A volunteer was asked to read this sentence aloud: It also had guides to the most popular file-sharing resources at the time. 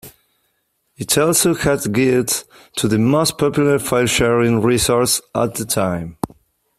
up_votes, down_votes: 0, 2